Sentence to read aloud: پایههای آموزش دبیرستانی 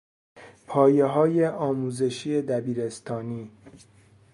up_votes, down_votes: 0, 2